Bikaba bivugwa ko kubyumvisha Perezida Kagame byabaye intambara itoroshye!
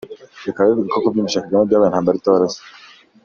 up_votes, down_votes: 0, 2